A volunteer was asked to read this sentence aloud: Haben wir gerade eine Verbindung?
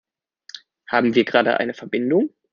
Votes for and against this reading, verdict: 2, 0, accepted